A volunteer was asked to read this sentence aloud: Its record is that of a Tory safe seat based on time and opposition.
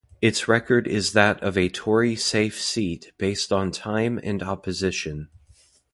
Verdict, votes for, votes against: accepted, 2, 0